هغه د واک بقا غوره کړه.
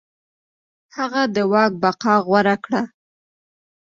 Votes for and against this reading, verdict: 2, 1, accepted